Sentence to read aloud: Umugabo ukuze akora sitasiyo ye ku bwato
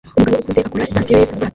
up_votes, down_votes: 0, 2